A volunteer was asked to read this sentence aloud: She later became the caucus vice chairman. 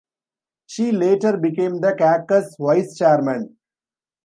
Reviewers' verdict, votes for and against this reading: rejected, 1, 2